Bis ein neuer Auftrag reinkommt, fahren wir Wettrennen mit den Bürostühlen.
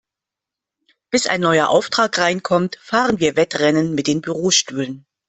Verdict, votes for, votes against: accepted, 2, 0